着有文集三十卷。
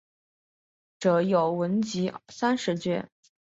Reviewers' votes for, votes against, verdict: 3, 1, accepted